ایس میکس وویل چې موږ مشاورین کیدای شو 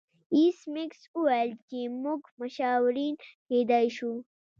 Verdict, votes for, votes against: rejected, 1, 2